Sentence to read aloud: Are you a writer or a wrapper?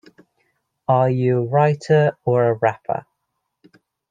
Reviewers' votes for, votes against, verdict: 2, 0, accepted